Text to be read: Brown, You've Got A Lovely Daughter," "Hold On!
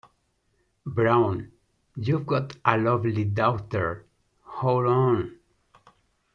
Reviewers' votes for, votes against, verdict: 0, 2, rejected